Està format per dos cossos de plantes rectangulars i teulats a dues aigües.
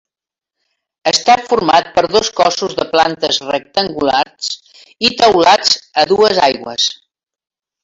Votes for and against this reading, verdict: 3, 0, accepted